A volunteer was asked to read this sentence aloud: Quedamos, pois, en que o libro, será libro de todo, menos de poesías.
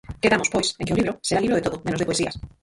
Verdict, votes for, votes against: rejected, 0, 4